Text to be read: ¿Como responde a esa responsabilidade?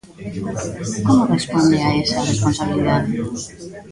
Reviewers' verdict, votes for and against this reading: rejected, 1, 2